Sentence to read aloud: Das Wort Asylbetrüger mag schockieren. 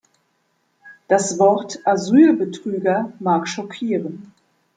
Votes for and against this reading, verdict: 2, 0, accepted